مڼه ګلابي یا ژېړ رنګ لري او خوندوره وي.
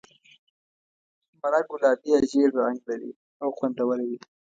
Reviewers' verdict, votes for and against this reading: accepted, 2, 0